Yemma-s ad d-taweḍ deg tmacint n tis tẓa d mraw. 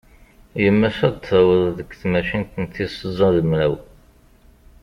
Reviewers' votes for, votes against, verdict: 2, 0, accepted